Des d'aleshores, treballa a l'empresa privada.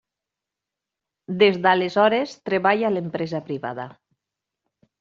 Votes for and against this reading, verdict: 3, 1, accepted